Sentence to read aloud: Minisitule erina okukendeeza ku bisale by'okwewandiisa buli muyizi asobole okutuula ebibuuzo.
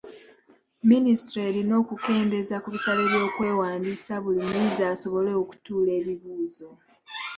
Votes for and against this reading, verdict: 2, 0, accepted